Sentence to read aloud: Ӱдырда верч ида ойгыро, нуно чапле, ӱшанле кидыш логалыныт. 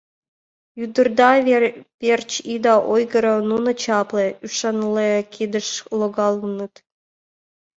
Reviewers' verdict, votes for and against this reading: rejected, 0, 2